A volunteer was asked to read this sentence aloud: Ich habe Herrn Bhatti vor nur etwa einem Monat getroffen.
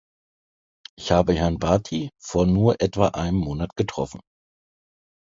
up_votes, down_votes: 2, 0